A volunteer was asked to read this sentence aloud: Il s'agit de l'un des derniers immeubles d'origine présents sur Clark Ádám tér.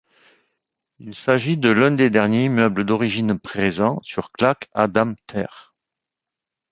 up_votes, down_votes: 1, 2